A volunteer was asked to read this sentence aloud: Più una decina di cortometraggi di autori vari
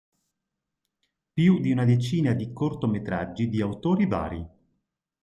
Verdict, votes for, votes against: rejected, 1, 2